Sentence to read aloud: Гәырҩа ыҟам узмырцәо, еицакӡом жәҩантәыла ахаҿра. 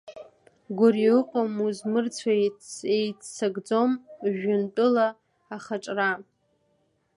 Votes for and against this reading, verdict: 0, 2, rejected